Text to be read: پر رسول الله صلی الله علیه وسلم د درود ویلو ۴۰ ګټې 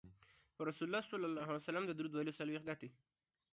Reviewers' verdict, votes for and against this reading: rejected, 0, 2